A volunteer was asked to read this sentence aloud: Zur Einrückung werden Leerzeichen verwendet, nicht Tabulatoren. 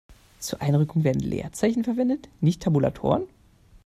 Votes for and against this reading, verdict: 1, 2, rejected